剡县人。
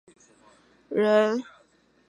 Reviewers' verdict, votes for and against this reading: rejected, 0, 5